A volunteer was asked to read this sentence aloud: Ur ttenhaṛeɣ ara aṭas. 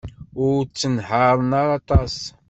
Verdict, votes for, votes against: rejected, 1, 2